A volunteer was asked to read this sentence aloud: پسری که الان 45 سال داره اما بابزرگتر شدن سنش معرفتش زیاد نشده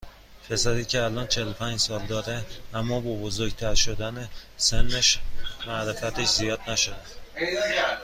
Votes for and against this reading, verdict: 0, 2, rejected